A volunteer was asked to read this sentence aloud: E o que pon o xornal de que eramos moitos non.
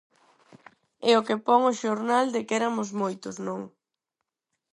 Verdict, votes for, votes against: rejected, 0, 4